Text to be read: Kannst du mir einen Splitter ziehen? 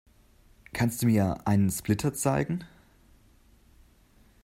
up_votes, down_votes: 0, 2